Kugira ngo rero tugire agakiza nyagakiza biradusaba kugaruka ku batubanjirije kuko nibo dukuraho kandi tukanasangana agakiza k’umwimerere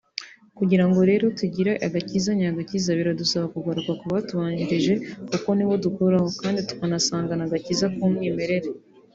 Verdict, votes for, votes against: accepted, 2, 0